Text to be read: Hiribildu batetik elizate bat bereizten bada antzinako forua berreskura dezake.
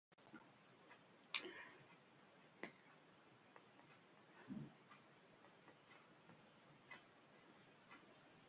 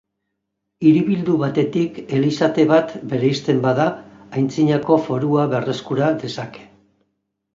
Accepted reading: second